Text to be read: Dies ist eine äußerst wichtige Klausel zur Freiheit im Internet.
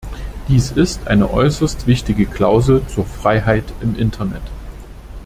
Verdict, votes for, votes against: accepted, 2, 1